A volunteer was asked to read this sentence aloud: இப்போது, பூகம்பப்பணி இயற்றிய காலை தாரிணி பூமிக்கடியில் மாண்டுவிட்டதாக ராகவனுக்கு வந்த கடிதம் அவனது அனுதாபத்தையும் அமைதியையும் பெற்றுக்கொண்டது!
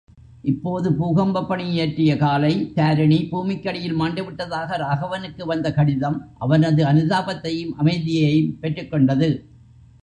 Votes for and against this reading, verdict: 1, 2, rejected